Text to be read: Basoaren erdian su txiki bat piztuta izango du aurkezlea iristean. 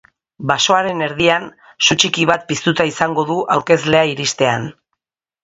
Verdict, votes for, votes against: accepted, 2, 0